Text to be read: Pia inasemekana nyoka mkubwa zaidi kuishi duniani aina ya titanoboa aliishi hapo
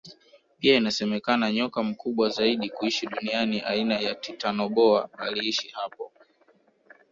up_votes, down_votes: 2, 0